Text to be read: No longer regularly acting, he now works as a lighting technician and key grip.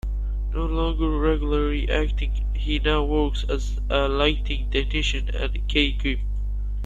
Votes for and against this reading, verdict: 2, 1, accepted